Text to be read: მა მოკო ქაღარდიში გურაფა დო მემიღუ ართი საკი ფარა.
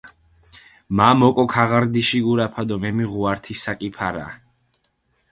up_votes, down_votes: 4, 0